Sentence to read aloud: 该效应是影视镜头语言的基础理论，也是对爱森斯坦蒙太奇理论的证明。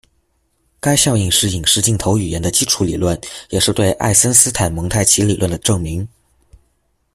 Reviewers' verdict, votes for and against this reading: accepted, 2, 0